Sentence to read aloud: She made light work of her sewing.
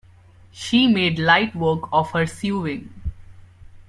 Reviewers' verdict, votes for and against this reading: accepted, 2, 1